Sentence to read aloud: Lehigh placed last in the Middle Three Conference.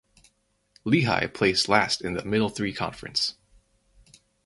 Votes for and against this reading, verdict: 6, 0, accepted